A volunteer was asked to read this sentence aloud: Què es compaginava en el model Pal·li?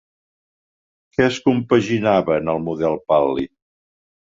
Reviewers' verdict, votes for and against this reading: accepted, 2, 0